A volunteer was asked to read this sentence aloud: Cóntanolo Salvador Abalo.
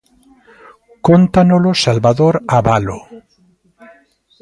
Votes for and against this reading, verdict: 2, 0, accepted